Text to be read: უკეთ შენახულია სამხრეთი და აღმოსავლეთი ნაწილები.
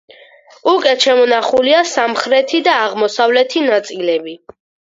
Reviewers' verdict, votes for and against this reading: rejected, 0, 4